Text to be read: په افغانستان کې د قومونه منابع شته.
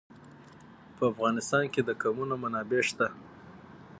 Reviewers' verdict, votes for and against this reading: rejected, 3, 6